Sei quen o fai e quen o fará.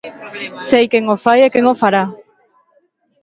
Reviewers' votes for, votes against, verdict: 2, 0, accepted